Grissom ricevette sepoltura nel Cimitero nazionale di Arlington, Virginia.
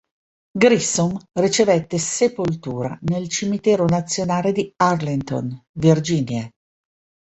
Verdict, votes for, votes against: accepted, 2, 0